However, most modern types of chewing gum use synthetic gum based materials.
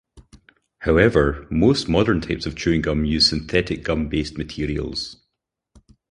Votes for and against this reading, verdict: 2, 0, accepted